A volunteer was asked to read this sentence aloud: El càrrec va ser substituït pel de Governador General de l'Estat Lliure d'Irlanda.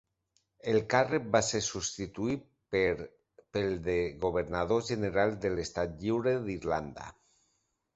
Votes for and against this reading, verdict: 0, 2, rejected